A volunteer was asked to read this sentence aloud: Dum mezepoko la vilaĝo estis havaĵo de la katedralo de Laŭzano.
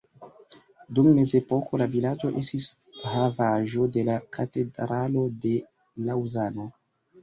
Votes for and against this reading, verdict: 2, 1, accepted